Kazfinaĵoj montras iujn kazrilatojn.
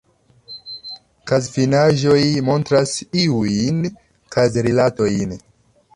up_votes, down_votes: 2, 1